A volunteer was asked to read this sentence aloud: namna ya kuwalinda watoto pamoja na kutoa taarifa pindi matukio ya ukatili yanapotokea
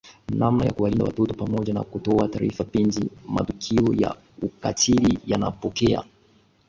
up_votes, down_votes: 1, 2